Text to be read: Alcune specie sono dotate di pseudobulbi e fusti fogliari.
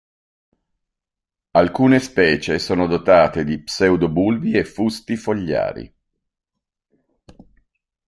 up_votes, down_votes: 2, 0